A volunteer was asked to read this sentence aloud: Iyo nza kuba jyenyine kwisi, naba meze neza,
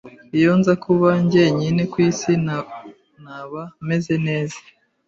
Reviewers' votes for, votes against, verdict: 1, 2, rejected